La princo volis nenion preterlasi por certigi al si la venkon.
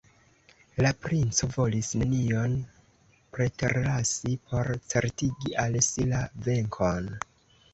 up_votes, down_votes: 2, 0